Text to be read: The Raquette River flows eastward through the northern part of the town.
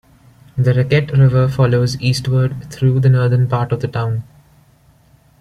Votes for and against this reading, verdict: 1, 2, rejected